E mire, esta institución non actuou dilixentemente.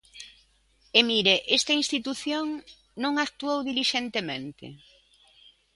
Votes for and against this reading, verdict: 2, 0, accepted